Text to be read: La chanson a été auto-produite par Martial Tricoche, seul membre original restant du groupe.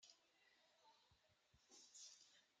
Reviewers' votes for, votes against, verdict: 0, 2, rejected